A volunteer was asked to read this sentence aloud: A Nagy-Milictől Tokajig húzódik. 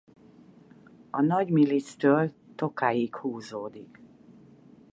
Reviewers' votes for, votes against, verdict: 0, 4, rejected